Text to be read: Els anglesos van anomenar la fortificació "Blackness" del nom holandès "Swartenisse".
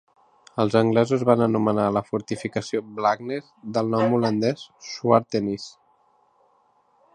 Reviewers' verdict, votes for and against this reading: accepted, 3, 0